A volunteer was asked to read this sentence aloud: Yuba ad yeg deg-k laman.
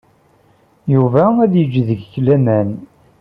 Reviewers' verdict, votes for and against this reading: rejected, 0, 2